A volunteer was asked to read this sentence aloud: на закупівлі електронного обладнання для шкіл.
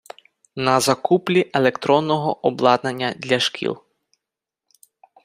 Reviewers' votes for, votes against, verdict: 0, 4, rejected